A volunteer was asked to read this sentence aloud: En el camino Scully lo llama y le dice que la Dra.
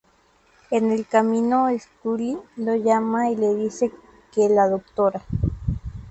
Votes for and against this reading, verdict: 2, 0, accepted